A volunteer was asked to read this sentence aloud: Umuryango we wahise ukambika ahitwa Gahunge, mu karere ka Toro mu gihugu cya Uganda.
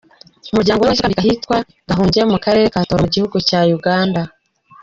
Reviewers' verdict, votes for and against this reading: rejected, 1, 2